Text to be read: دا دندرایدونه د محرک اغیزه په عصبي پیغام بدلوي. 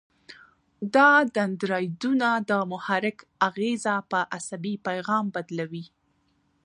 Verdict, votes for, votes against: accepted, 2, 1